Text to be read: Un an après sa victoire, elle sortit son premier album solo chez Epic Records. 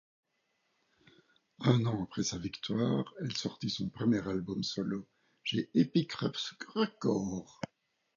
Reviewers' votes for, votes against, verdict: 1, 2, rejected